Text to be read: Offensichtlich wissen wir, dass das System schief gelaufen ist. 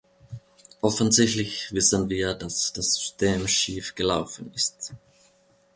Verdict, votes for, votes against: accepted, 2, 0